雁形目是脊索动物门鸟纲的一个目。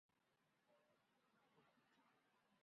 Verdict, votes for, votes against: rejected, 0, 2